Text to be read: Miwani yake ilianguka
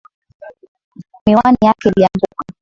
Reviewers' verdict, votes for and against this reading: accepted, 11, 3